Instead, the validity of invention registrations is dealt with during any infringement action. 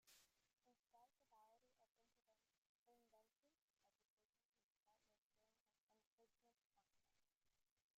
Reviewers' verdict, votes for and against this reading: rejected, 0, 2